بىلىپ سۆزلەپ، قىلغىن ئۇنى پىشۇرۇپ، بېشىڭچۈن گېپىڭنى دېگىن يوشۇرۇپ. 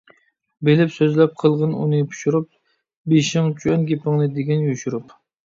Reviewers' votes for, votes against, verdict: 2, 0, accepted